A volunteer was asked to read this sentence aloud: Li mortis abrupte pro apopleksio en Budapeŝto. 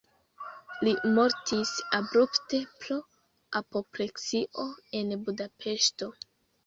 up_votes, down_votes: 0, 2